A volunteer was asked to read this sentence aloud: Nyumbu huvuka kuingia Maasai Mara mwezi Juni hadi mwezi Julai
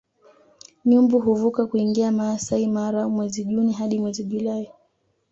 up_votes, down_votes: 2, 0